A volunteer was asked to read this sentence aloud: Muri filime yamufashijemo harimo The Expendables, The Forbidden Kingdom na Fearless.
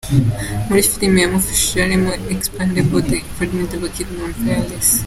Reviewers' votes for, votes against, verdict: 2, 1, accepted